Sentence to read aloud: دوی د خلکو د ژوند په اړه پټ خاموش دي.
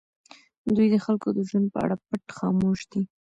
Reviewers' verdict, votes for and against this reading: accepted, 2, 0